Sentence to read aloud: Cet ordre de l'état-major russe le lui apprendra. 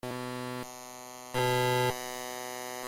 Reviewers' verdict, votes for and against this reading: rejected, 0, 2